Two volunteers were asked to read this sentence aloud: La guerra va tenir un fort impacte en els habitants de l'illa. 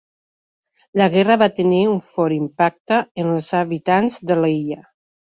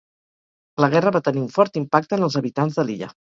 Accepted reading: first